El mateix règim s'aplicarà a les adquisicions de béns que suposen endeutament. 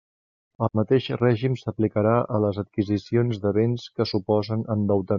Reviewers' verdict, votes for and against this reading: rejected, 1, 2